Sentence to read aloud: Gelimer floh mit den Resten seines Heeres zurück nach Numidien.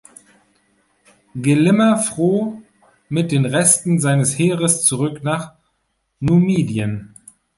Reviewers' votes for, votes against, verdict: 1, 2, rejected